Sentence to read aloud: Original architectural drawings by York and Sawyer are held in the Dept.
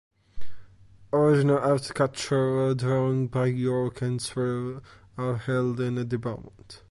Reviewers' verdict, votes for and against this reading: rejected, 1, 2